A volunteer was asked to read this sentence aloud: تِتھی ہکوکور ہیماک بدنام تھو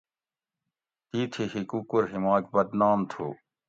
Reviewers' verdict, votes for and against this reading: accepted, 2, 0